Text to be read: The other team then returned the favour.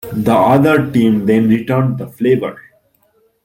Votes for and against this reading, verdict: 0, 2, rejected